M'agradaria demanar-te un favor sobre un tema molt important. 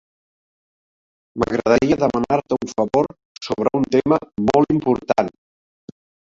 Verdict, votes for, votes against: rejected, 1, 2